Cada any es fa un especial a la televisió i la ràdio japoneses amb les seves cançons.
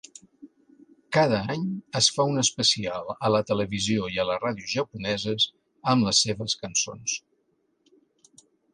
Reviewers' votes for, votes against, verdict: 0, 2, rejected